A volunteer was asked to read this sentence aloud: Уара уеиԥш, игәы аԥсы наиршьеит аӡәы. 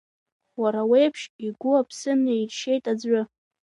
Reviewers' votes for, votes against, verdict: 2, 1, accepted